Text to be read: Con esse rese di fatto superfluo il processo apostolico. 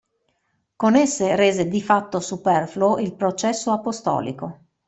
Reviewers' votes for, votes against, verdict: 2, 0, accepted